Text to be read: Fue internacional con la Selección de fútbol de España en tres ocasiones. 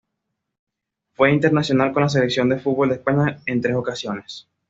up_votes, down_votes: 2, 0